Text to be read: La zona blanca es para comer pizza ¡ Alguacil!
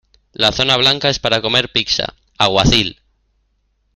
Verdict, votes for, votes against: rejected, 1, 2